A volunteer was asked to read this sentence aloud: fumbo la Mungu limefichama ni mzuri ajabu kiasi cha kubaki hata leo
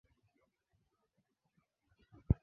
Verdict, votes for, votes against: rejected, 0, 2